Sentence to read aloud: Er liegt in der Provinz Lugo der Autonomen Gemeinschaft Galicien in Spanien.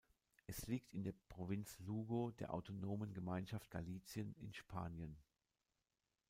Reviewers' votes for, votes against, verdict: 1, 2, rejected